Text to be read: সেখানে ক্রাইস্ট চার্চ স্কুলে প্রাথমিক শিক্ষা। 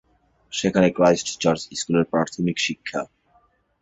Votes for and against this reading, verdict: 5, 3, accepted